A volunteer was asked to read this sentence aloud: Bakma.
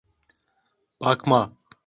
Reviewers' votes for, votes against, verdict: 2, 0, accepted